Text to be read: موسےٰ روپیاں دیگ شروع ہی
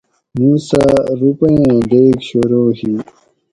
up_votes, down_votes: 2, 4